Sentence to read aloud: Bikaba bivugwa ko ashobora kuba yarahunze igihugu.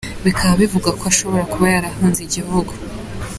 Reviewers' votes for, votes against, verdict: 3, 0, accepted